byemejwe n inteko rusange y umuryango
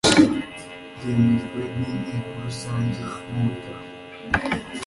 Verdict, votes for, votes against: rejected, 1, 2